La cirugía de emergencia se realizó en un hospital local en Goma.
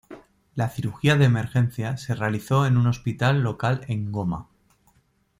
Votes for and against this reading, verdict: 2, 0, accepted